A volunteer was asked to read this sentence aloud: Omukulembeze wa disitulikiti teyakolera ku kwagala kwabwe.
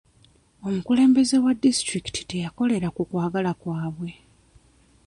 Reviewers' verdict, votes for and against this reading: rejected, 0, 2